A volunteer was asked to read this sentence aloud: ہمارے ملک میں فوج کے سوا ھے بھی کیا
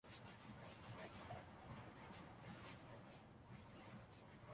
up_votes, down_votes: 0, 2